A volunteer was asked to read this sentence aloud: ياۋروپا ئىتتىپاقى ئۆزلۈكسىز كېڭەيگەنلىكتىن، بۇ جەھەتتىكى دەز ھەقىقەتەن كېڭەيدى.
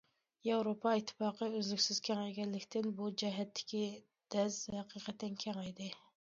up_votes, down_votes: 2, 0